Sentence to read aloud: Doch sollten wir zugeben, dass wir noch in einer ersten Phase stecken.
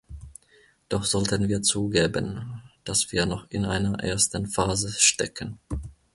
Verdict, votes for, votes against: accepted, 2, 1